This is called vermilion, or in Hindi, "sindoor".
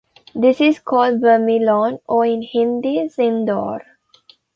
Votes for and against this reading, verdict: 1, 2, rejected